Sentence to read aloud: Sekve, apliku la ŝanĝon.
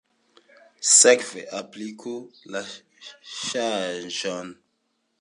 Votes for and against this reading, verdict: 2, 1, accepted